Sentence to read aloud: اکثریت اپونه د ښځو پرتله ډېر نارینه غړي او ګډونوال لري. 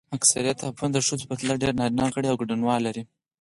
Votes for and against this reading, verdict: 4, 0, accepted